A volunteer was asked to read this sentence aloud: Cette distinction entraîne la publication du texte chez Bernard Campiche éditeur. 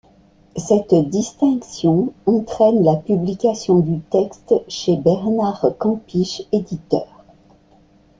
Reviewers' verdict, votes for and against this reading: accepted, 2, 0